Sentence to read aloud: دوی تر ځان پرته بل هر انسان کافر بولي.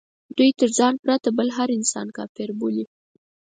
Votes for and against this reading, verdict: 4, 0, accepted